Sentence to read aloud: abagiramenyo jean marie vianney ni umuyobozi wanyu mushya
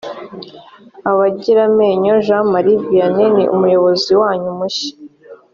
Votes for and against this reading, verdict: 3, 0, accepted